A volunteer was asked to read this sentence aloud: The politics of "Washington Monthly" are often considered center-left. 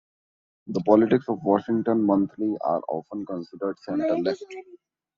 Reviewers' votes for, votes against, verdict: 0, 2, rejected